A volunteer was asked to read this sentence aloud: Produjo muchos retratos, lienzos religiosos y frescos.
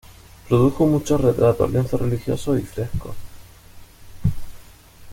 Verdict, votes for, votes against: rejected, 1, 2